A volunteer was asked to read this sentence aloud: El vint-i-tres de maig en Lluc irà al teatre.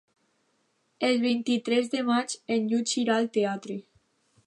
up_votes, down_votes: 0, 2